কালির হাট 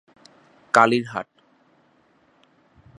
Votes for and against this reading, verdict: 2, 0, accepted